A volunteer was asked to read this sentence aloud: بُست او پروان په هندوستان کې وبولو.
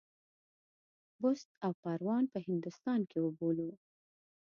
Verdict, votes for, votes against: accepted, 2, 0